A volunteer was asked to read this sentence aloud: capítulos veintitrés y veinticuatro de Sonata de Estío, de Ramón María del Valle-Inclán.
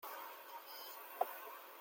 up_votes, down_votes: 0, 2